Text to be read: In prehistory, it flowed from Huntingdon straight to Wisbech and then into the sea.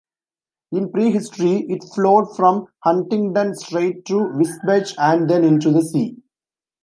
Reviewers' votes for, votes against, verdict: 0, 2, rejected